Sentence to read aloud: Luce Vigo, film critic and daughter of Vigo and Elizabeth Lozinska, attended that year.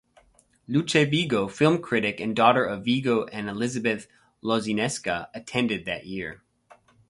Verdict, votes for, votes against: rejected, 2, 2